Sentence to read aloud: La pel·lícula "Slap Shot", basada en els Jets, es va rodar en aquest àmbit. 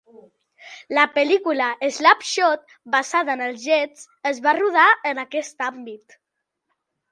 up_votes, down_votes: 2, 0